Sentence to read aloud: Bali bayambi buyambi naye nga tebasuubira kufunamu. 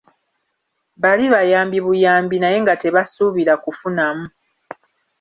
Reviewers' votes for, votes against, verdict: 3, 0, accepted